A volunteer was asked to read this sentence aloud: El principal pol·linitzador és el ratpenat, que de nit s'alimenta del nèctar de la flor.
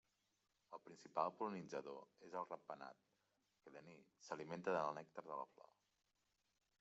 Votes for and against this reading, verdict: 1, 2, rejected